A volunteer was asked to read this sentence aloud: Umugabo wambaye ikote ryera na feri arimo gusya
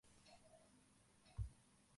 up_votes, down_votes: 0, 2